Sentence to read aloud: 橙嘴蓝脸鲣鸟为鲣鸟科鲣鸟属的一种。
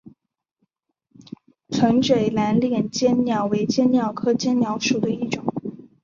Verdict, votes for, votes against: accepted, 2, 0